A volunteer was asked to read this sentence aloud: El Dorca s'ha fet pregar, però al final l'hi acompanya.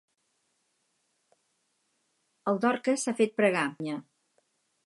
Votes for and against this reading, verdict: 2, 4, rejected